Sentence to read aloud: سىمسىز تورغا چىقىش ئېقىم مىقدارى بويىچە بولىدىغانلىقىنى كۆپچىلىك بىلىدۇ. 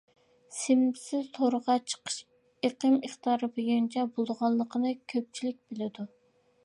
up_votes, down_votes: 0, 2